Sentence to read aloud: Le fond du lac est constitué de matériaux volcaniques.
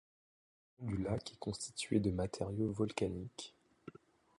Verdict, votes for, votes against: rejected, 0, 2